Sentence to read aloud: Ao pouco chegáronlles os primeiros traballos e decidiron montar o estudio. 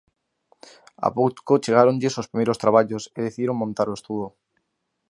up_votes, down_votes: 0, 2